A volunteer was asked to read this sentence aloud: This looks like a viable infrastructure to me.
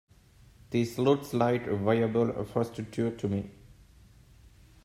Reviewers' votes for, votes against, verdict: 1, 2, rejected